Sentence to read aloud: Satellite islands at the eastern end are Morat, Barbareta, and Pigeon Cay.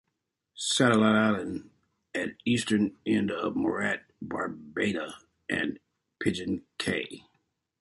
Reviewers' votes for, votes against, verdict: 0, 2, rejected